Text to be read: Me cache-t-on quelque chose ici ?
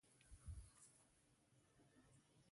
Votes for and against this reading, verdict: 0, 2, rejected